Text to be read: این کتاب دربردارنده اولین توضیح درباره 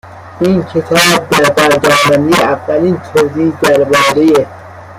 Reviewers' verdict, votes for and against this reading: accepted, 2, 1